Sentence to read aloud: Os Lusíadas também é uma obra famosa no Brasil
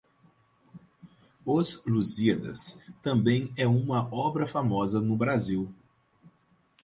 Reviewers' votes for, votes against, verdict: 4, 0, accepted